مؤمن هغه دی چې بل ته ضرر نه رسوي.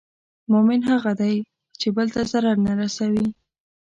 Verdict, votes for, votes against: accepted, 2, 0